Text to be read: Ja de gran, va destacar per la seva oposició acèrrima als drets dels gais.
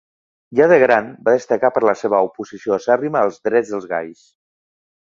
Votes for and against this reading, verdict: 2, 0, accepted